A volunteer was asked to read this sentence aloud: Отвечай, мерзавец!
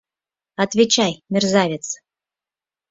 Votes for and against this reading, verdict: 4, 0, accepted